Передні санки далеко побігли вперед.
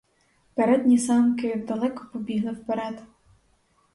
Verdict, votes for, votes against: rejected, 2, 2